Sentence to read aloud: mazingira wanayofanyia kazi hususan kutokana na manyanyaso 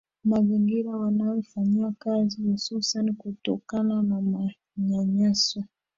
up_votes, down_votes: 0, 2